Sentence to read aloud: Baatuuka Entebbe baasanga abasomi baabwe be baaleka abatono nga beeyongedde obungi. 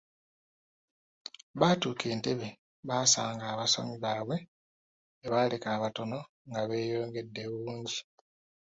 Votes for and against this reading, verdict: 2, 0, accepted